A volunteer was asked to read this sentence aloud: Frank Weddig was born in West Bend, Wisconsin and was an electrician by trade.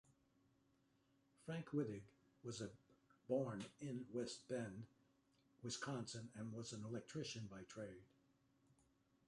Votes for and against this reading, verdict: 2, 0, accepted